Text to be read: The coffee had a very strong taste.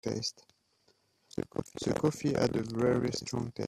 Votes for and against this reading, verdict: 0, 2, rejected